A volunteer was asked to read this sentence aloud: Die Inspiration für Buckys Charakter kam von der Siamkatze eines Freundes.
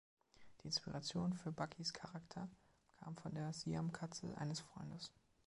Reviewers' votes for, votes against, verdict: 2, 0, accepted